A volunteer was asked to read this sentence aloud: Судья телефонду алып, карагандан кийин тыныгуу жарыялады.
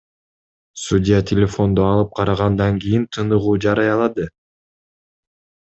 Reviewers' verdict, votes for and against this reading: accepted, 2, 0